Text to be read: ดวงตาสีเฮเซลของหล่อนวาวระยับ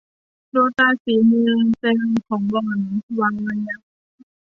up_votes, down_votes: 0, 2